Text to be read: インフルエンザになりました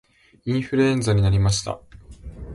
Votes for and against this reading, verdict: 2, 0, accepted